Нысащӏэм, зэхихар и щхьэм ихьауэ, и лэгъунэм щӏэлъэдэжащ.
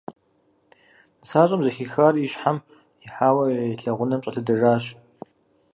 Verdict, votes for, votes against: accepted, 4, 0